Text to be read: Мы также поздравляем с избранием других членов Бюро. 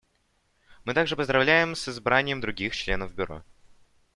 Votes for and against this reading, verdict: 2, 0, accepted